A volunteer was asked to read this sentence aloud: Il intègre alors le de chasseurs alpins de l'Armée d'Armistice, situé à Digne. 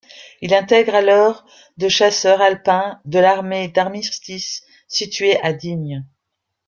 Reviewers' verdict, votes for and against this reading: rejected, 0, 2